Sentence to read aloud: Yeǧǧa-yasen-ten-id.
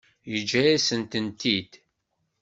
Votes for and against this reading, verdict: 1, 2, rejected